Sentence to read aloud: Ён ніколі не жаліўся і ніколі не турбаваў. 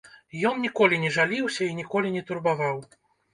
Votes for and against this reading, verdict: 1, 2, rejected